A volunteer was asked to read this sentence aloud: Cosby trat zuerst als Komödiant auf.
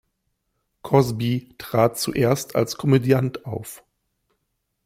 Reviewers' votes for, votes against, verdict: 2, 0, accepted